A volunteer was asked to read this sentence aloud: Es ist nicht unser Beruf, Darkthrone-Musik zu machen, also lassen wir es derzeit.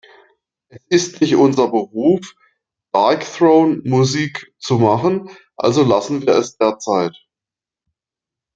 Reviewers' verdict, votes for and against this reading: rejected, 1, 2